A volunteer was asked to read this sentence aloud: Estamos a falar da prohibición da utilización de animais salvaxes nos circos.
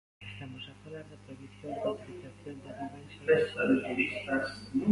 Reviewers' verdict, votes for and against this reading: rejected, 0, 2